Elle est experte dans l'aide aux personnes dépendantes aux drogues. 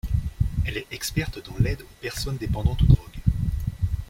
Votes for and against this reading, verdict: 2, 0, accepted